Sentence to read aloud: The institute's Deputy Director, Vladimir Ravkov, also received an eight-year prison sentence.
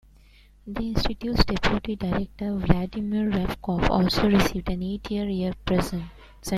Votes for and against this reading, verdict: 1, 2, rejected